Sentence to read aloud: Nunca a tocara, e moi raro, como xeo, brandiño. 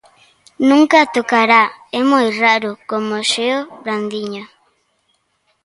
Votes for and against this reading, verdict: 0, 2, rejected